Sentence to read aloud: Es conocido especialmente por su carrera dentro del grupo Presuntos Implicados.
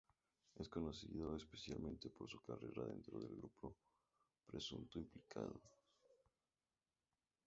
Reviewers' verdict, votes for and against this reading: rejected, 0, 2